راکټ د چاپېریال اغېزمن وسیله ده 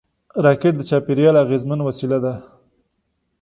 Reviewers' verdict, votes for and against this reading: accepted, 2, 0